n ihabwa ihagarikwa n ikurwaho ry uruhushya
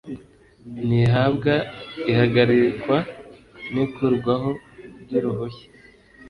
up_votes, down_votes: 1, 2